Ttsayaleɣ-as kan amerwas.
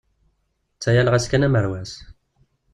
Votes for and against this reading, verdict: 2, 0, accepted